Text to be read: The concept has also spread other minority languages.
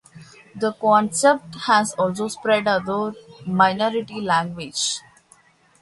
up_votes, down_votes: 1, 2